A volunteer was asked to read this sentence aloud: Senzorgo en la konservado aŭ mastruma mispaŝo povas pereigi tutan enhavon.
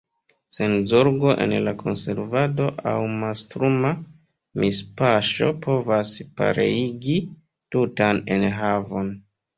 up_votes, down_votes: 1, 2